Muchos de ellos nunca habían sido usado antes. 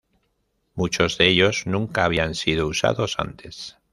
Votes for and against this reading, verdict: 1, 2, rejected